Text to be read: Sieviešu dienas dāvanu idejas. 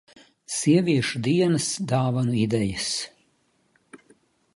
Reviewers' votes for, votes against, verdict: 2, 0, accepted